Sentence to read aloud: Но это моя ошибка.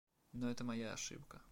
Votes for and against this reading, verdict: 2, 0, accepted